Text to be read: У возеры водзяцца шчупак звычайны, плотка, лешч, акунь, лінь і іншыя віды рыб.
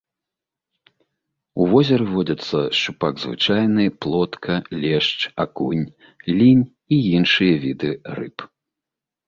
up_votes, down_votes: 2, 0